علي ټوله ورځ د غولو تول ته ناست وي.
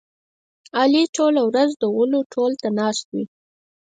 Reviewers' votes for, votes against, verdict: 2, 4, rejected